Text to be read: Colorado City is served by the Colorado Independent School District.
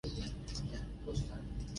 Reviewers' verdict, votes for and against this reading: rejected, 0, 2